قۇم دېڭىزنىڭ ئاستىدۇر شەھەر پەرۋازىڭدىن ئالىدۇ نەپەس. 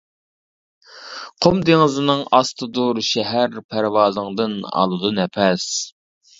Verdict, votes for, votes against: rejected, 1, 2